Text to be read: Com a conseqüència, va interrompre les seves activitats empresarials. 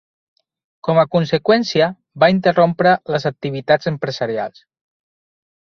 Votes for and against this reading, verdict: 1, 4, rejected